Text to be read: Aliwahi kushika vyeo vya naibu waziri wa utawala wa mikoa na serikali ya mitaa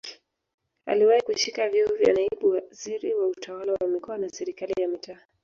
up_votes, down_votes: 1, 2